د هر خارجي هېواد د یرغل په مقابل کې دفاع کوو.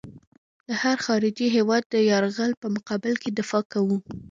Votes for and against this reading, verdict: 2, 0, accepted